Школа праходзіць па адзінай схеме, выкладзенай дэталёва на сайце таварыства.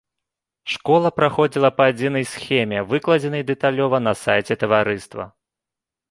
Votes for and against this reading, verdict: 0, 2, rejected